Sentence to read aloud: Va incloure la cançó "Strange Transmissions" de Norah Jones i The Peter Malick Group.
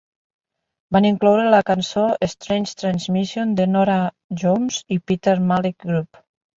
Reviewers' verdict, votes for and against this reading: rejected, 1, 2